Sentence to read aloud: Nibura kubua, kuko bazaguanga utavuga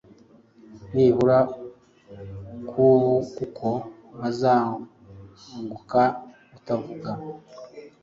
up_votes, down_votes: 1, 2